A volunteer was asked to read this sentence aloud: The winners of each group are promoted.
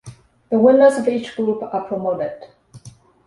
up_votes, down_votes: 2, 1